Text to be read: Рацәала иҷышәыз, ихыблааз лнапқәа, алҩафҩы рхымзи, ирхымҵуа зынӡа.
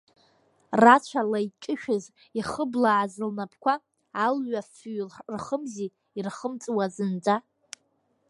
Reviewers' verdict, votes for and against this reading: rejected, 1, 2